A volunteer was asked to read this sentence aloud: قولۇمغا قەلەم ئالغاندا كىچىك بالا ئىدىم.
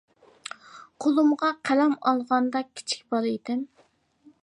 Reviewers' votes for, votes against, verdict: 2, 1, accepted